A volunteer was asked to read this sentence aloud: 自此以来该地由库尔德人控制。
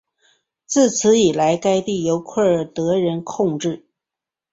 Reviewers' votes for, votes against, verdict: 5, 0, accepted